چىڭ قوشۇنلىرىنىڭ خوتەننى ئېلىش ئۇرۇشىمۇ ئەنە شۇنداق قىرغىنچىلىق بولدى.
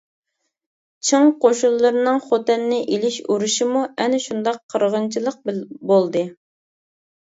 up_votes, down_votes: 1, 2